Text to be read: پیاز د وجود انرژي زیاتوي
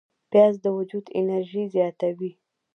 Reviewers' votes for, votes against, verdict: 0, 2, rejected